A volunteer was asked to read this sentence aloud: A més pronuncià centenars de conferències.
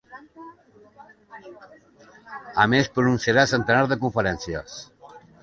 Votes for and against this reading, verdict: 1, 2, rejected